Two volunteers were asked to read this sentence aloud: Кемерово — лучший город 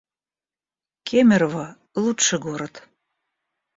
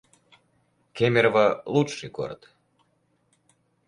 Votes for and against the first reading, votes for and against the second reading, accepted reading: 1, 2, 4, 0, second